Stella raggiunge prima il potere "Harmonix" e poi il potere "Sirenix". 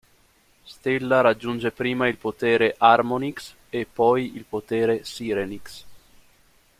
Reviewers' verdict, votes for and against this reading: accepted, 2, 0